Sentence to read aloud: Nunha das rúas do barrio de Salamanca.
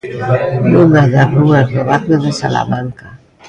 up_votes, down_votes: 2, 0